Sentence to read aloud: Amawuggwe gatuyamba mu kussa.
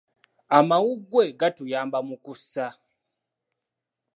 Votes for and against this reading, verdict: 2, 0, accepted